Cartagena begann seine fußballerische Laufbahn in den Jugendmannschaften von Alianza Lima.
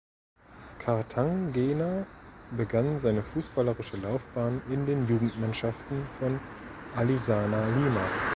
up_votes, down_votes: 0, 2